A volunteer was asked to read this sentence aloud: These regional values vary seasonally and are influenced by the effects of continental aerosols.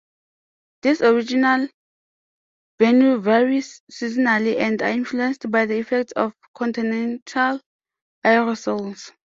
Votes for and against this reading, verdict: 0, 2, rejected